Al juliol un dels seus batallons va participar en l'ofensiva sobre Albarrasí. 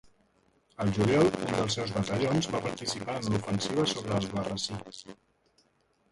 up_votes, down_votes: 2, 1